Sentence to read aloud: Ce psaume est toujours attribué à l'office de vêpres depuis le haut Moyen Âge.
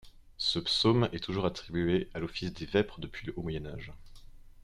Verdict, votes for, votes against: rejected, 1, 2